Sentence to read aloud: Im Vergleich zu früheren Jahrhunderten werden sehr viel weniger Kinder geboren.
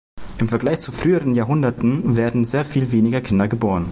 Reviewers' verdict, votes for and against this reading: accepted, 2, 0